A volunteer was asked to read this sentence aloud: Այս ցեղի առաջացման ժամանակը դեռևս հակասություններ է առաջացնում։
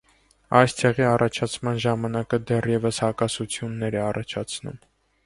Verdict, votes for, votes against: accepted, 2, 0